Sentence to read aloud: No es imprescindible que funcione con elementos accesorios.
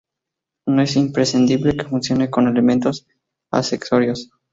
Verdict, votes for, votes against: accepted, 4, 0